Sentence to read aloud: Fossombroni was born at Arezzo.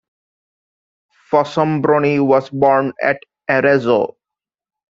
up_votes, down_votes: 2, 0